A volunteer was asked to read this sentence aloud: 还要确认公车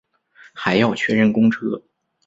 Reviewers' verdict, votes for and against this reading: accepted, 3, 0